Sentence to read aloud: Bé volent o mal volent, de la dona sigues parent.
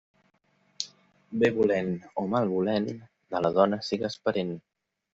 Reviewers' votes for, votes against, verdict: 3, 0, accepted